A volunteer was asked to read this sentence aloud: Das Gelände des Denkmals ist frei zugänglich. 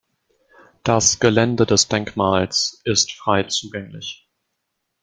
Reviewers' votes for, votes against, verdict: 2, 0, accepted